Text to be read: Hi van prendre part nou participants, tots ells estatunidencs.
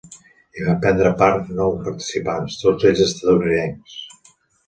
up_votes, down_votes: 0, 2